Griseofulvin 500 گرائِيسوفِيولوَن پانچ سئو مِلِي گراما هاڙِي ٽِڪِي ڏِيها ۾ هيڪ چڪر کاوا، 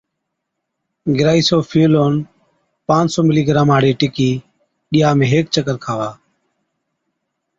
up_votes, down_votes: 0, 2